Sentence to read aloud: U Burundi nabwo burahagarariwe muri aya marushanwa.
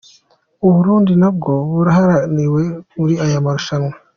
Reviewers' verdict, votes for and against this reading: accepted, 2, 0